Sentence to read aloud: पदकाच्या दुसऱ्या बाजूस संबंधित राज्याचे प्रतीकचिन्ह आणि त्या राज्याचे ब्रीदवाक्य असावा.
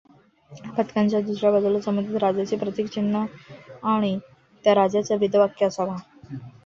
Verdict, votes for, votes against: accepted, 2, 1